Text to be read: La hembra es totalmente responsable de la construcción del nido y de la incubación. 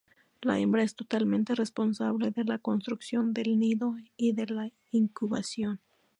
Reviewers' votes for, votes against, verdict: 4, 0, accepted